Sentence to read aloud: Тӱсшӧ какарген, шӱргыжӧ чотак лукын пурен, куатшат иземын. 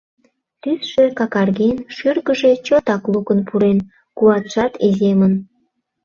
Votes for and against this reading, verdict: 2, 0, accepted